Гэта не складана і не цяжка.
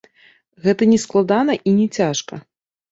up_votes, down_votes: 2, 0